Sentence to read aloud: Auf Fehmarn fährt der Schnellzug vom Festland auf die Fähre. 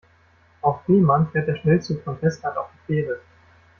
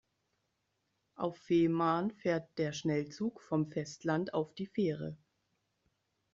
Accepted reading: second